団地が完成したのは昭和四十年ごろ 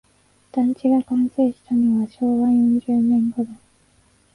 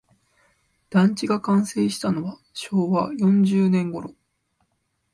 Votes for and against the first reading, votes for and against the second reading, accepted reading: 1, 2, 2, 0, second